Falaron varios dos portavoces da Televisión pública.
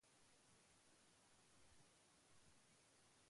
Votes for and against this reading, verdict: 0, 2, rejected